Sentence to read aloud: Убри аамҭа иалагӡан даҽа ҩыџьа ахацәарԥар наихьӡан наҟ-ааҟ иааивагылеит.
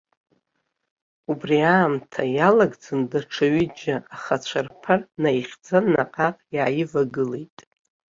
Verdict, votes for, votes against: rejected, 1, 2